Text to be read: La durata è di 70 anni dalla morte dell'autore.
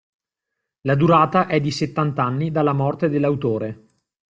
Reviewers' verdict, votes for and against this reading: rejected, 0, 2